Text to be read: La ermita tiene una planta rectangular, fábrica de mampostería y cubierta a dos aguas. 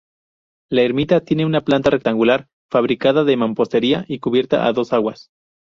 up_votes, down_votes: 0, 2